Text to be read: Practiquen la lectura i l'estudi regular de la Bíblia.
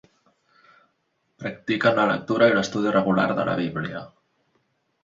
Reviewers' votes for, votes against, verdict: 2, 0, accepted